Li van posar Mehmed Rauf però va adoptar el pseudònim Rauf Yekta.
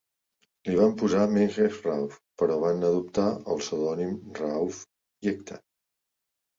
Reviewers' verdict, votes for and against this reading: rejected, 1, 2